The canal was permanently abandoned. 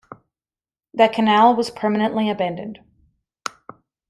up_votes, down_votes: 2, 0